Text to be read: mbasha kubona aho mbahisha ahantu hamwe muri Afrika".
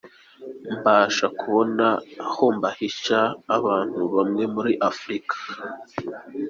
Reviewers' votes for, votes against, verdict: 2, 0, accepted